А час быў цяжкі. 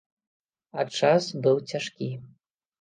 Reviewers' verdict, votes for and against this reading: rejected, 1, 2